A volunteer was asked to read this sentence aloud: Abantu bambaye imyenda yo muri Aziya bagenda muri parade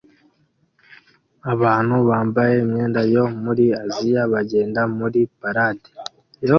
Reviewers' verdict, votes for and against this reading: accepted, 2, 0